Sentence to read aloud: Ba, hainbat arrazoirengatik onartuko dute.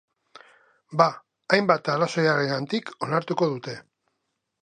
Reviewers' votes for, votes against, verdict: 0, 2, rejected